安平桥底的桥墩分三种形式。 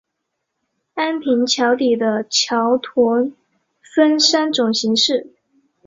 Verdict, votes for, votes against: rejected, 2, 3